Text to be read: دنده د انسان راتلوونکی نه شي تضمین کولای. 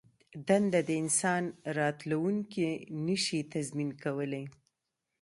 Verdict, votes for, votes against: rejected, 1, 2